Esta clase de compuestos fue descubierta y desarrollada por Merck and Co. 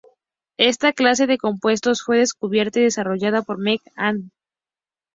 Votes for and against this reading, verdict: 2, 0, accepted